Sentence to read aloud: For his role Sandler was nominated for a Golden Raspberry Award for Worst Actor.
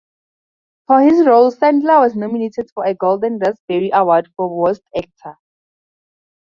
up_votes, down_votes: 2, 2